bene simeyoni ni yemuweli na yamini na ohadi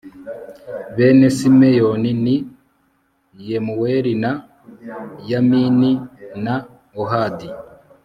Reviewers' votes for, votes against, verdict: 1, 2, rejected